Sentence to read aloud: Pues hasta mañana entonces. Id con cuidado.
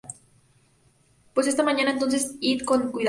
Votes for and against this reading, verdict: 0, 2, rejected